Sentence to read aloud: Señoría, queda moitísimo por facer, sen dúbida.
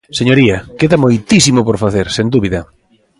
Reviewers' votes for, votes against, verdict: 2, 0, accepted